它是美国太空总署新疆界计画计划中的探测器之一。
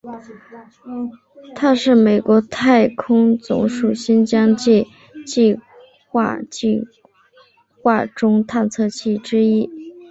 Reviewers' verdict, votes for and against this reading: rejected, 1, 2